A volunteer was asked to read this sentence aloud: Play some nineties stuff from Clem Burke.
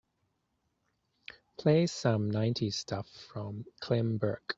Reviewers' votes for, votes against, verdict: 2, 0, accepted